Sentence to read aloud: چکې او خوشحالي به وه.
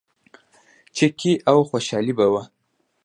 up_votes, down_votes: 2, 0